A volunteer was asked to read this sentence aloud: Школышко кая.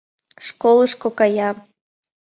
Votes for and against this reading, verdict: 2, 0, accepted